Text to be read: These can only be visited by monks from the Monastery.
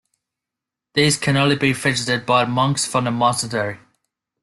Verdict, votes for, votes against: rejected, 1, 2